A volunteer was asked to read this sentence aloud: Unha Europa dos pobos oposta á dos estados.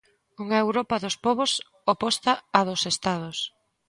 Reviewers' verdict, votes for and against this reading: accepted, 2, 1